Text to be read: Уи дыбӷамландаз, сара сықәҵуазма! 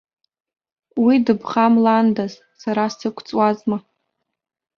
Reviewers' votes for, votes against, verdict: 0, 2, rejected